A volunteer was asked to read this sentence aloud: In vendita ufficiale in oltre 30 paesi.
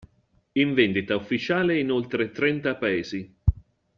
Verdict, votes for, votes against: rejected, 0, 2